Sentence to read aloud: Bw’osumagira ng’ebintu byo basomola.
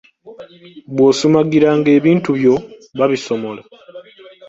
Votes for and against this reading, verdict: 1, 2, rejected